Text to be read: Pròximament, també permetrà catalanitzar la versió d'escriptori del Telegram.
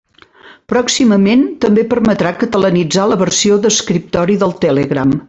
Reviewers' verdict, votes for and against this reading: accepted, 3, 0